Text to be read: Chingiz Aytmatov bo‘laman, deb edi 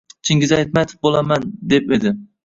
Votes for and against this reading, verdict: 1, 2, rejected